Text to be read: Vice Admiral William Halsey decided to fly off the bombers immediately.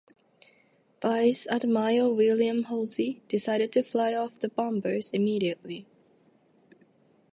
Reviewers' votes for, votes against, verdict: 2, 2, rejected